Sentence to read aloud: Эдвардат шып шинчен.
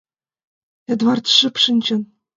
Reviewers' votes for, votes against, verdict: 2, 0, accepted